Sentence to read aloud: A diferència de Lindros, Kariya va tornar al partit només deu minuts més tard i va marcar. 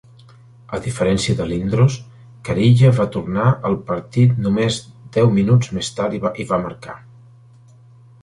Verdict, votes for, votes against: accepted, 2, 0